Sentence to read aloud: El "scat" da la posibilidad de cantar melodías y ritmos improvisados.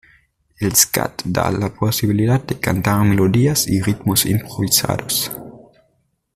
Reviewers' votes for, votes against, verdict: 2, 0, accepted